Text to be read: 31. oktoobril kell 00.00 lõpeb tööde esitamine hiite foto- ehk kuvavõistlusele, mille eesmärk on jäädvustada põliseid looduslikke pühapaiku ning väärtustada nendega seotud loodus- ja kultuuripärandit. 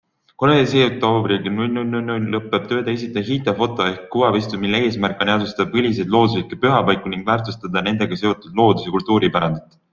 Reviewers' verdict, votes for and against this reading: rejected, 0, 2